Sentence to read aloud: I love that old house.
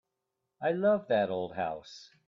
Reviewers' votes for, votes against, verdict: 2, 0, accepted